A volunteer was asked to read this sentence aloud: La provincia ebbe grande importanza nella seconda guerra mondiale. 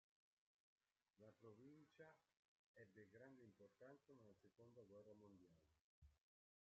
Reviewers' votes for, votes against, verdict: 0, 2, rejected